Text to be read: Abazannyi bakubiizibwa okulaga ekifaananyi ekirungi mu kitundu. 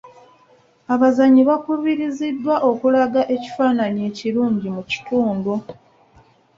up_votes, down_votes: 0, 2